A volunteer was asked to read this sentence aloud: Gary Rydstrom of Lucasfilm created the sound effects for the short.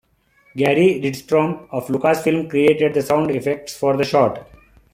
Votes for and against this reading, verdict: 2, 0, accepted